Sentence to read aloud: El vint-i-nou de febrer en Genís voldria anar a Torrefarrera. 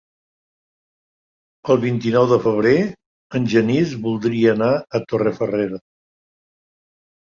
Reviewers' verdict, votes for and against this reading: accepted, 4, 0